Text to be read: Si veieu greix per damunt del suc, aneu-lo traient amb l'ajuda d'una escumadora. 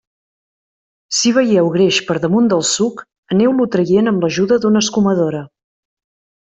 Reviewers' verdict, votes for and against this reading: accepted, 2, 0